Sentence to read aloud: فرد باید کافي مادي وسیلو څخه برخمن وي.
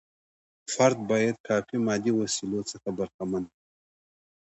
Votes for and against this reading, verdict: 2, 1, accepted